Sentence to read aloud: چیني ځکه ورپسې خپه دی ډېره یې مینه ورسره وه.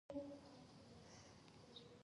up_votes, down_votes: 0, 4